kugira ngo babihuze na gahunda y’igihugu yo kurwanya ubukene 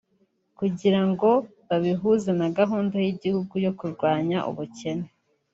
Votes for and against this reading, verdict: 3, 0, accepted